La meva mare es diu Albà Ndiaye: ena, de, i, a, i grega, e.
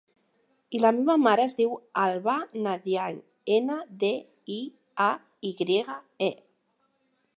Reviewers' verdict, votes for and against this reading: accepted, 2, 0